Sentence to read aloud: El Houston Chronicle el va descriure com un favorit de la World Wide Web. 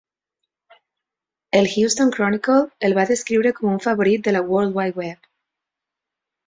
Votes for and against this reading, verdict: 4, 0, accepted